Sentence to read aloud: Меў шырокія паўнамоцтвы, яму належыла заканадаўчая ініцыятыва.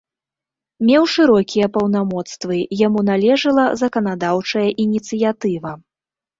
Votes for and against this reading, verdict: 2, 0, accepted